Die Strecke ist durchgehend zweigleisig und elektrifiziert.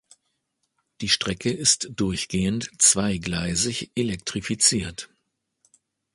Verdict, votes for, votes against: rejected, 1, 2